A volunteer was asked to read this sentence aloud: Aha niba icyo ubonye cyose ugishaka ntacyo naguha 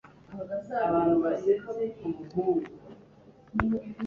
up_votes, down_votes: 1, 2